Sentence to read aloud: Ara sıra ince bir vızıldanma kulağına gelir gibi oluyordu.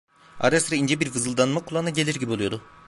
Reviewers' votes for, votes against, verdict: 1, 2, rejected